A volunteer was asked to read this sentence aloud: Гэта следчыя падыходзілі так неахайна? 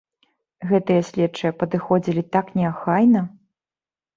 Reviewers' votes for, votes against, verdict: 1, 2, rejected